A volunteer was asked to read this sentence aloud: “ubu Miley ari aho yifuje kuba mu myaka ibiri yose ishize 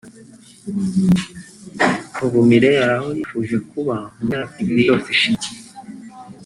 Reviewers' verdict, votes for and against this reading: rejected, 0, 2